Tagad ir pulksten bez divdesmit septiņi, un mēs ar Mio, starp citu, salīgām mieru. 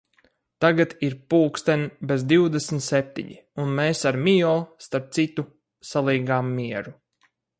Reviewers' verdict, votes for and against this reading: accepted, 4, 2